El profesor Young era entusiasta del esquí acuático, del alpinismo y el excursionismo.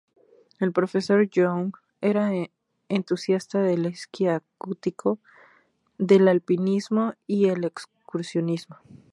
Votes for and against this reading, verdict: 2, 2, rejected